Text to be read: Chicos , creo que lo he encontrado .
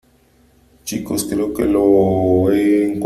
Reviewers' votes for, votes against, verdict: 0, 3, rejected